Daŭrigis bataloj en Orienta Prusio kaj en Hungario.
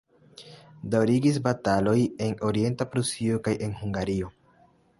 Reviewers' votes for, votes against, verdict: 2, 0, accepted